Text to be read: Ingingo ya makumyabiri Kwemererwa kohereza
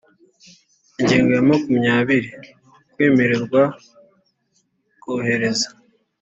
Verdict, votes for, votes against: accepted, 2, 0